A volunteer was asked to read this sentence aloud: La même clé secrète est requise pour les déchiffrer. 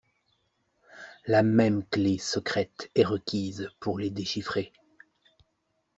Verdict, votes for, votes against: accepted, 2, 0